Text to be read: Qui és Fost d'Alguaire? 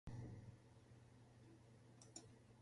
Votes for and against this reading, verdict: 1, 2, rejected